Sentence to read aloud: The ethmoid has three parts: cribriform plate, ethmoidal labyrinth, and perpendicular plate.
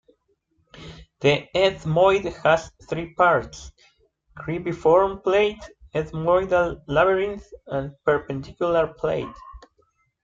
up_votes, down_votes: 1, 2